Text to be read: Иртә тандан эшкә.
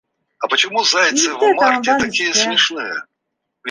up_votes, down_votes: 1, 2